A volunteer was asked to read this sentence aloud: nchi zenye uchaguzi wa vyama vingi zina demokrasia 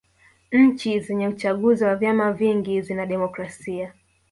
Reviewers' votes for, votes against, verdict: 1, 2, rejected